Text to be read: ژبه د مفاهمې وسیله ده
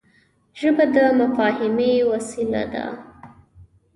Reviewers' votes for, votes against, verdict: 1, 2, rejected